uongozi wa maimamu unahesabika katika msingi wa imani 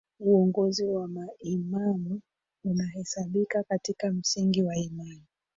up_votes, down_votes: 0, 2